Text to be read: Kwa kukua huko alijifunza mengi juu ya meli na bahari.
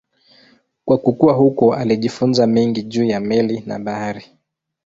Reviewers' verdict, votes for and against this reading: accepted, 2, 0